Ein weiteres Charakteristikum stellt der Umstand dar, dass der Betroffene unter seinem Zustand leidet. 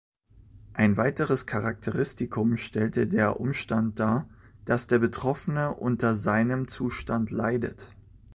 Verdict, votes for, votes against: rejected, 0, 2